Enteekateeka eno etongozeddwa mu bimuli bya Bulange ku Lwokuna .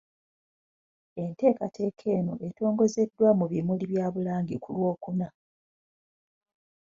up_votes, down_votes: 2, 0